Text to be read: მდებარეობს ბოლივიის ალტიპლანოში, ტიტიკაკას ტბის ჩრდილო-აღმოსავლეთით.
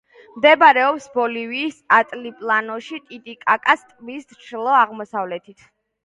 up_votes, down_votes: 2, 1